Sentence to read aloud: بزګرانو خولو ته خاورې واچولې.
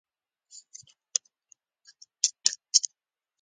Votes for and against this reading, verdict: 1, 2, rejected